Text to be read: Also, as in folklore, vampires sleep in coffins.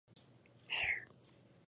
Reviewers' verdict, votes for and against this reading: rejected, 0, 2